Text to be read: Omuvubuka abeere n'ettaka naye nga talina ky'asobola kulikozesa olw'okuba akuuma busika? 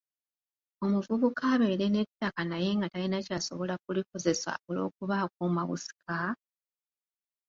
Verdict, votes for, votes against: accepted, 2, 1